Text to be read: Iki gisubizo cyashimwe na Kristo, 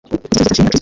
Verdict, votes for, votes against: rejected, 0, 2